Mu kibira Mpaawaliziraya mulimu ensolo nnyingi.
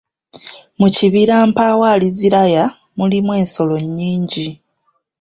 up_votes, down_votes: 3, 1